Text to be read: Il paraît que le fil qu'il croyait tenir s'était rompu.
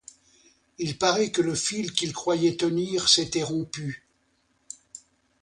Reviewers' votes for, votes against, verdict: 2, 0, accepted